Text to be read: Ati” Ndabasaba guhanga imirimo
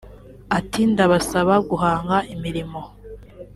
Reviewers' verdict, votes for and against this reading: accepted, 2, 0